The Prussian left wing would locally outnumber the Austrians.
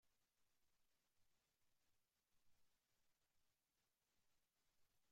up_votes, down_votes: 0, 3